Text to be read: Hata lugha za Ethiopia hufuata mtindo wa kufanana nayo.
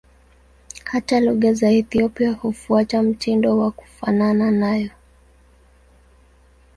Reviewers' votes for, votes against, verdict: 2, 0, accepted